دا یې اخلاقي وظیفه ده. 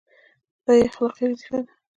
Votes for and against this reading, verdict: 1, 2, rejected